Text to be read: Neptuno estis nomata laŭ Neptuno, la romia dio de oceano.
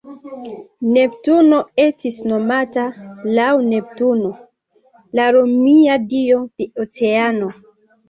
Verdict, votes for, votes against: accepted, 2, 1